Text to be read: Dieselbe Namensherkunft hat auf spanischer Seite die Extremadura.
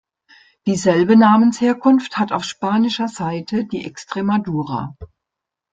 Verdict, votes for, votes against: accepted, 2, 0